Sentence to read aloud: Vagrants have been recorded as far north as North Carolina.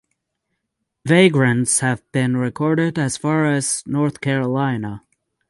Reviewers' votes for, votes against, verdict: 3, 6, rejected